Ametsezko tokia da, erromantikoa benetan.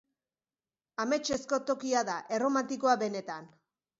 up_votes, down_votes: 2, 0